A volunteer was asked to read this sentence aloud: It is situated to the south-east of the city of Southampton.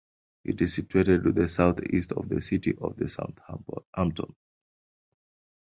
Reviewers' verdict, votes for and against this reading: rejected, 0, 2